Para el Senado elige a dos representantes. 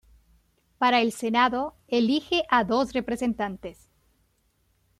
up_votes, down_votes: 2, 0